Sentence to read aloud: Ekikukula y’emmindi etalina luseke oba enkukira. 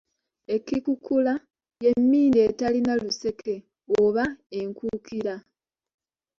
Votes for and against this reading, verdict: 0, 2, rejected